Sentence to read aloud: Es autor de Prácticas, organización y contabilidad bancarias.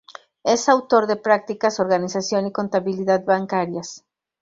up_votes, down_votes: 4, 0